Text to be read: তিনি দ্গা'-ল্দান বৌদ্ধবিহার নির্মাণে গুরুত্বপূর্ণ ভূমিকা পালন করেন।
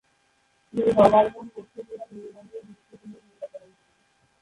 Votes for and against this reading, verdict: 0, 2, rejected